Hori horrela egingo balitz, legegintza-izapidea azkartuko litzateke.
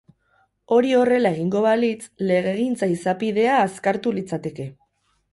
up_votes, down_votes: 2, 2